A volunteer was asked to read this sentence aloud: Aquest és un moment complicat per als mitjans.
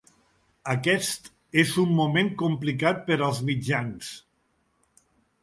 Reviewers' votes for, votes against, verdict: 2, 0, accepted